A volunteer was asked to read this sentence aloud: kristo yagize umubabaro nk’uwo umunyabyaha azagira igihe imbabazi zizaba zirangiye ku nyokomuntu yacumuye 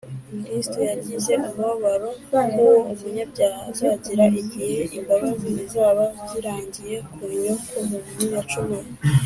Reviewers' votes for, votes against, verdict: 3, 0, accepted